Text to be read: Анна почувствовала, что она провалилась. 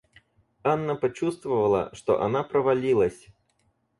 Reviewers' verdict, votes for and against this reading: accepted, 4, 0